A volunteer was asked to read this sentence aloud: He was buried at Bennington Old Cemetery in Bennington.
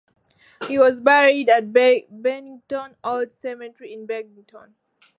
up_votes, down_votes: 0, 2